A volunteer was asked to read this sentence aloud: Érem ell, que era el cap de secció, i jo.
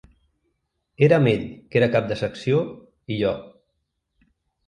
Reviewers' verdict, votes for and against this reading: rejected, 1, 2